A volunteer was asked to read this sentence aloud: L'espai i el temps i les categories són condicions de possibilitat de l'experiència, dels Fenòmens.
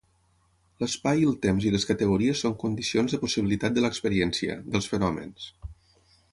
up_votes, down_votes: 3, 0